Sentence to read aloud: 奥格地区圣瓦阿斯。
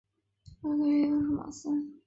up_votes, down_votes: 0, 3